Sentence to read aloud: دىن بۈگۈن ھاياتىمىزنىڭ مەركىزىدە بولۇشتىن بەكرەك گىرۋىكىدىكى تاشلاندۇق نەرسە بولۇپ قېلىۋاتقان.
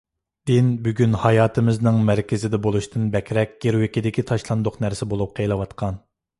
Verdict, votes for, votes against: accepted, 2, 0